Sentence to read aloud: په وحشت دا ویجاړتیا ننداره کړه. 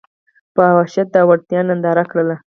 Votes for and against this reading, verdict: 2, 4, rejected